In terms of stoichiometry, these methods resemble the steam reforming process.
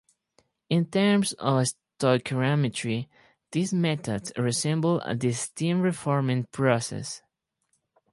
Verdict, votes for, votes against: rejected, 2, 2